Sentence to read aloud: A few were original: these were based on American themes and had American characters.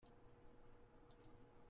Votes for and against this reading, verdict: 0, 2, rejected